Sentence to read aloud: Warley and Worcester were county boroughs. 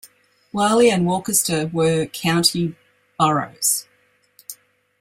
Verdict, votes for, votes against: rejected, 0, 2